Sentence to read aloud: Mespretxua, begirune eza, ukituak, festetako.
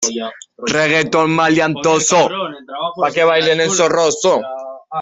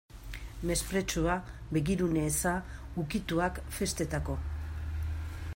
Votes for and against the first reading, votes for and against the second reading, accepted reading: 0, 2, 2, 0, second